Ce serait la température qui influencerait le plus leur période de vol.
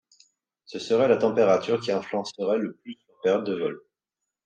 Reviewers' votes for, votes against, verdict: 2, 0, accepted